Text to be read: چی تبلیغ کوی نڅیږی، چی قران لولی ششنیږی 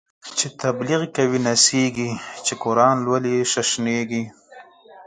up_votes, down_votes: 4, 2